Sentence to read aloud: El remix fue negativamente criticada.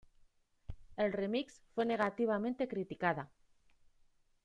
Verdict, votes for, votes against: rejected, 1, 2